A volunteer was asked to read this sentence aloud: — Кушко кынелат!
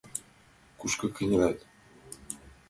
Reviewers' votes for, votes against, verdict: 2, 0, accepted